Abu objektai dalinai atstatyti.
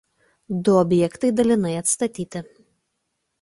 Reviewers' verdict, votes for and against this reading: rejected, 0, 2